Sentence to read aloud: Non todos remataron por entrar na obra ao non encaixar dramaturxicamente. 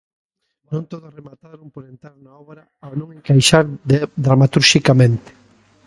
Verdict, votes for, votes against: rejected, 1, 2